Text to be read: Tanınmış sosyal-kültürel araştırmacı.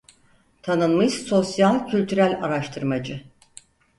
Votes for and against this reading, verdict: 4, 0, accepted